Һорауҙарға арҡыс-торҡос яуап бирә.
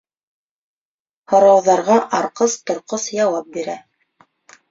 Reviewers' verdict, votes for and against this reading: accepted, 2, 0